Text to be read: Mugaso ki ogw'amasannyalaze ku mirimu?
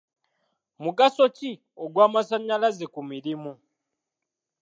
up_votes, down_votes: 3, 1